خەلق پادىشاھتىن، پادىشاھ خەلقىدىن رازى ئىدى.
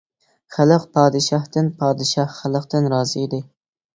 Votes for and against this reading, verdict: 1, 2, rejected